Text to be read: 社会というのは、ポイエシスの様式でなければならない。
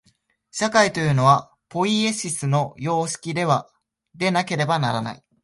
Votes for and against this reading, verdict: 1, 2, rejected